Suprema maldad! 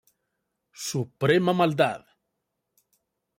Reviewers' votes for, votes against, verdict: 2, 0, accepted